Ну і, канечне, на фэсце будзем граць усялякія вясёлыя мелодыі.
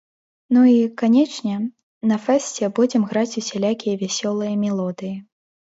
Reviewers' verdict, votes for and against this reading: accepted, 3, 0